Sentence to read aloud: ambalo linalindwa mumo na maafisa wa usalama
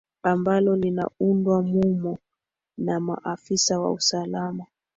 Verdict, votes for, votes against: accepted, 2, 1